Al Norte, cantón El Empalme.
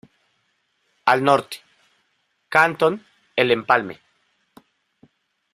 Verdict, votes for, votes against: rejected, 1, 2